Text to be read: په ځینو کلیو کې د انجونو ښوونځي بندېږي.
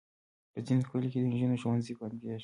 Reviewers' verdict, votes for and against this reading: accepted, 2, 1